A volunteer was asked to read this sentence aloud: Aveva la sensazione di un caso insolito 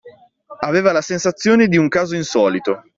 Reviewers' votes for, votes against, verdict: 2, 0, accepted